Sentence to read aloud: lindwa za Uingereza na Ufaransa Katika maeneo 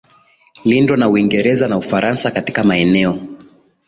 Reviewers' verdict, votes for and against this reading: accepted, 2, 1